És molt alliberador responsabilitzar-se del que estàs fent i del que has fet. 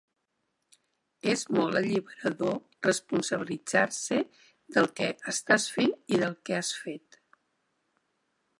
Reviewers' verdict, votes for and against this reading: rejected, 0, 2